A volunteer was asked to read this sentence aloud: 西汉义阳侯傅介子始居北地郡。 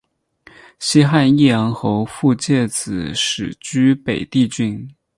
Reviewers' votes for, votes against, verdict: 2, 0, accepted